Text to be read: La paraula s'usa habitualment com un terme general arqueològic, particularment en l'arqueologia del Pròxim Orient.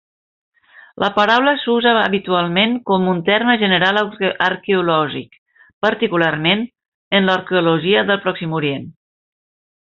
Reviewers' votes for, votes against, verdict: 1, 2, rejected